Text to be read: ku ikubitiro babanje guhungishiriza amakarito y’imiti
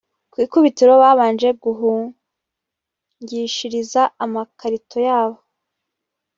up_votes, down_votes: 1, 2